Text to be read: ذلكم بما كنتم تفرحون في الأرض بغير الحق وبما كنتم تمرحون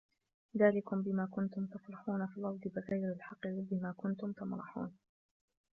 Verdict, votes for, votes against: rejected, 0, 2